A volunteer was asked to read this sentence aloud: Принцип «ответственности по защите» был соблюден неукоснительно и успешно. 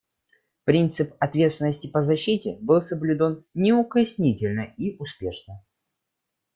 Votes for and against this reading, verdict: 0, 2, rejected